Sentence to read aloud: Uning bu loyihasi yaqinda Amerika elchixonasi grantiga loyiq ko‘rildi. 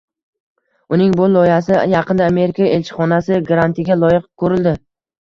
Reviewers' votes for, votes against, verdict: 1, 2, rejected